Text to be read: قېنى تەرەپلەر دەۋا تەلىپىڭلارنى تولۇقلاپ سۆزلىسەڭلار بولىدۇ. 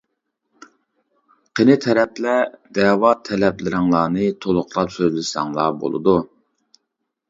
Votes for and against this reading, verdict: 0, 2, rejected